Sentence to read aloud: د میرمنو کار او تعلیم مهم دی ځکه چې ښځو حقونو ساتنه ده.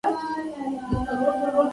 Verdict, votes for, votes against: rejected, 1, 2